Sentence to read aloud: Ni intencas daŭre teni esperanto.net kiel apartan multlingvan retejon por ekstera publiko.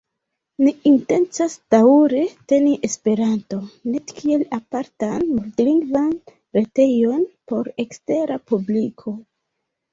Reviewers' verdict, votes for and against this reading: rejected, 1, 2